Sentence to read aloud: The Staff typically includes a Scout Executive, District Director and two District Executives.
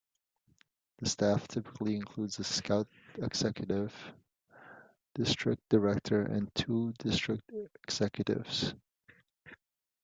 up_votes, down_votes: 2, 0